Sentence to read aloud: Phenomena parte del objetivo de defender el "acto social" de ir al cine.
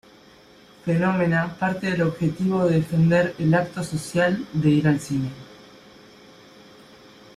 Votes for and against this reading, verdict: 2, 1, accepted